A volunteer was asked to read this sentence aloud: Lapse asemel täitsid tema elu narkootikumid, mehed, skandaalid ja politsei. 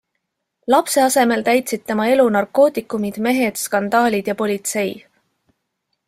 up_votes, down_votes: 2, 0